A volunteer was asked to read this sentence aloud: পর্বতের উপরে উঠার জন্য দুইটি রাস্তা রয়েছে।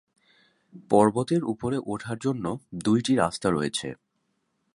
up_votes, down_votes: 2, 0